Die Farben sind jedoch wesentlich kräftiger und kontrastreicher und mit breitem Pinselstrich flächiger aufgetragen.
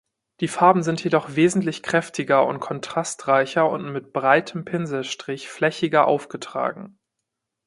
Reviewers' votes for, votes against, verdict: 2, 0, accepted